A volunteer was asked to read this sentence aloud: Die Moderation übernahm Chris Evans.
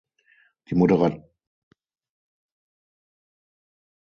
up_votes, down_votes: 0, 6